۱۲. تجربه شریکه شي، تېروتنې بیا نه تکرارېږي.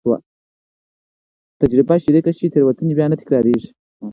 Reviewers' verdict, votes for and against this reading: rejected, 0, 2